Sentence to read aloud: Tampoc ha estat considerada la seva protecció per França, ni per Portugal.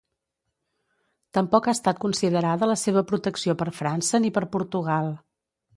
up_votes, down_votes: 2, 0